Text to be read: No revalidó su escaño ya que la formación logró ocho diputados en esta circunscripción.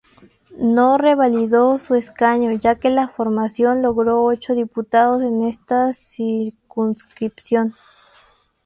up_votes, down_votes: 2, 0